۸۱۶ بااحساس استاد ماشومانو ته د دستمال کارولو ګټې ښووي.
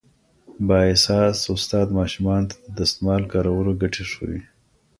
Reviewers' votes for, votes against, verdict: 0, 2, rejected